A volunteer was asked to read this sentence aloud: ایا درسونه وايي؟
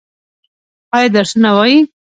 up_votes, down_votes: 2, 0